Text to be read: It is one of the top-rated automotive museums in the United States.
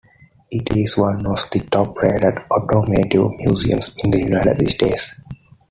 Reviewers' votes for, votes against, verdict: 2, 0, accepted